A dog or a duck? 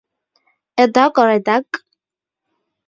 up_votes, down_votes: 2, 0